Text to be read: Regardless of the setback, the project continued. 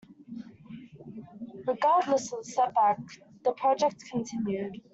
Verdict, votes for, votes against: accepted, 2, 1